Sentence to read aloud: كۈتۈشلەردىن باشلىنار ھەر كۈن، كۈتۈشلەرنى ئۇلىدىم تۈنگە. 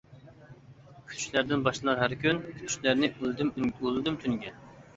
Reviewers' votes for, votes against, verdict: 0, 2, rejected